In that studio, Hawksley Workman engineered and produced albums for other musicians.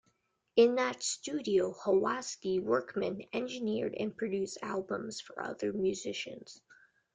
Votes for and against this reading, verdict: 2, 1, accepted